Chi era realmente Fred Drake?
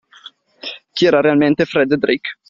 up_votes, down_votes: 2, 0